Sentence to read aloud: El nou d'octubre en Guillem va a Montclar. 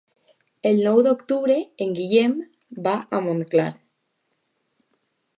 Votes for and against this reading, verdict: 2, 0, accepted